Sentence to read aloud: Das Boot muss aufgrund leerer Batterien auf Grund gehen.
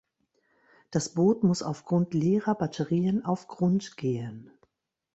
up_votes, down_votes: 2, 0